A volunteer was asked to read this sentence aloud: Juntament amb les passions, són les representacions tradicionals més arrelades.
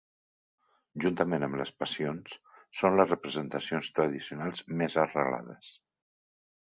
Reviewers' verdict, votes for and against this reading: accepted, 3, 0